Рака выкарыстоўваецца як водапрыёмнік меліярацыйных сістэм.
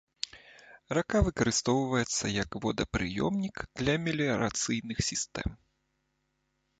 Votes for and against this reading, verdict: 0, 2, rejected